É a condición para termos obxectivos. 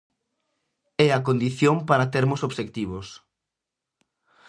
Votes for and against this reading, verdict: 2, 0, accepted